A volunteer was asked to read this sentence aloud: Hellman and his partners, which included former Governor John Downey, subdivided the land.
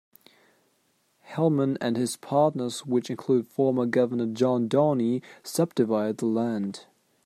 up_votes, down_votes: 1, 2